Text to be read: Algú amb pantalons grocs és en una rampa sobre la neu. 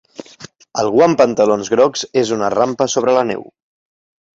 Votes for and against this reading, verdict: 1, 2, rejected